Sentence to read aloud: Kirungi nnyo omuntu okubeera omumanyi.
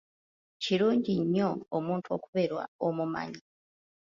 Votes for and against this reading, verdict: 0, 2, rejected